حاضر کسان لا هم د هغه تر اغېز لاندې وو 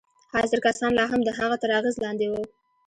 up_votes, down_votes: 2, 0